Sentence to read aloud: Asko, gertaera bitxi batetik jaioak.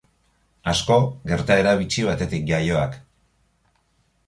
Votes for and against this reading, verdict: 2, 0, accepted